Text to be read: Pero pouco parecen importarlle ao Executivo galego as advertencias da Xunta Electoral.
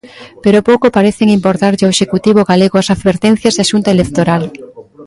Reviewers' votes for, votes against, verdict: 0, 2, rejected